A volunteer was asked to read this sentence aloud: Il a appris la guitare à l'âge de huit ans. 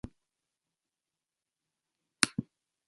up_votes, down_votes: 0, 2